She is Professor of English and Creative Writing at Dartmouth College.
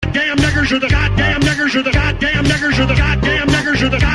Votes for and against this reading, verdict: 0, 2, rejected